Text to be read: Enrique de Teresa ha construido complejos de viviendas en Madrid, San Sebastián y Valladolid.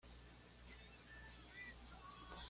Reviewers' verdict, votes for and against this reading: rejected, 1, 2